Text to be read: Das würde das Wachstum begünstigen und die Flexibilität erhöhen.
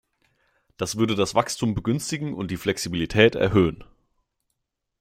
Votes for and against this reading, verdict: 2, 0, accepted